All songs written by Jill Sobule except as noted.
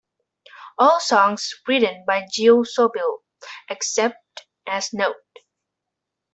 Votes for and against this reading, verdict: 0, 2, rejected